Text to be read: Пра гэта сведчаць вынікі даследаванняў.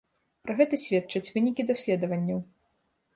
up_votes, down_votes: 2, 0